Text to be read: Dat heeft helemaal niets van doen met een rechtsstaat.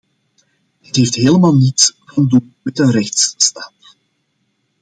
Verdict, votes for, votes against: accepted, 2, 0